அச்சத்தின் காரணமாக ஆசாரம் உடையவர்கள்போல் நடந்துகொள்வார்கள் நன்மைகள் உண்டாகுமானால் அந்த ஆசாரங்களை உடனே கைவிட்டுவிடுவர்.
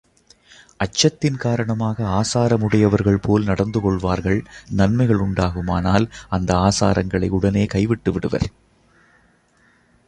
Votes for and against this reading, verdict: 2, 0, accepted